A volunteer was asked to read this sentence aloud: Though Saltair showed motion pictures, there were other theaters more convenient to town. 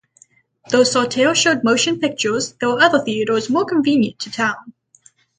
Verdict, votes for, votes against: accepted, 6, 0